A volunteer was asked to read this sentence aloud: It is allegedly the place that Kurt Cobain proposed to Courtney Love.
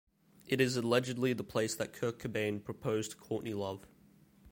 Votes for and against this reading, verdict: 2, 0, accepted